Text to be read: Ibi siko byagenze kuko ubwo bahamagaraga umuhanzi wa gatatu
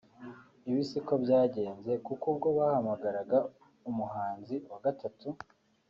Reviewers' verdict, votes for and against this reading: accepted, 2, 0